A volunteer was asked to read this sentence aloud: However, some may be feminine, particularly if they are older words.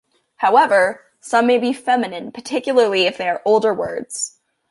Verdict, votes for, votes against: accepted, 2, 0